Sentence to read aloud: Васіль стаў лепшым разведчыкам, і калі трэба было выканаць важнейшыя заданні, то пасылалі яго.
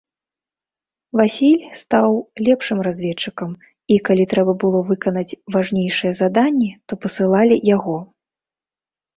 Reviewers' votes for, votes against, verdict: 2, 0, accepted